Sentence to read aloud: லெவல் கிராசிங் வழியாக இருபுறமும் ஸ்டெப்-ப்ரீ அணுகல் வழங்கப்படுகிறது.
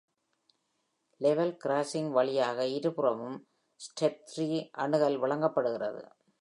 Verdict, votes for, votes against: accepted, 2, 0